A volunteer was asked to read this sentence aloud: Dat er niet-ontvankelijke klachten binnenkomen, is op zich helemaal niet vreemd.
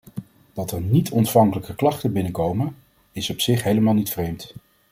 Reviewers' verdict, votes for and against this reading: accepted, 2, 0